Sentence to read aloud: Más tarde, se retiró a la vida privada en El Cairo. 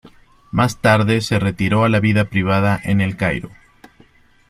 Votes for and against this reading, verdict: 2, 0, accepted